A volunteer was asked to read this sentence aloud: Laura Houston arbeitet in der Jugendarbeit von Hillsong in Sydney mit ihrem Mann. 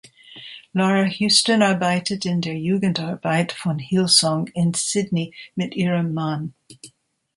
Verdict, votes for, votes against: accepted, 2, 0